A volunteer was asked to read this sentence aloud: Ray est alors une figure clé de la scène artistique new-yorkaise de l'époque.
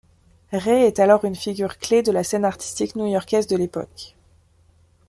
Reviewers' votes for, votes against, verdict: 2, 1, accepted